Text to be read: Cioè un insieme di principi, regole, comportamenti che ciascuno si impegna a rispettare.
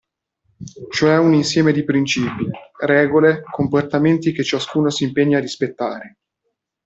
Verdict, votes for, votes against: accepted, 2, 0